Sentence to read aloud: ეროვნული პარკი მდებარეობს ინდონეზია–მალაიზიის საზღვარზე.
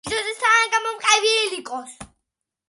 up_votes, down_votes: 0, 2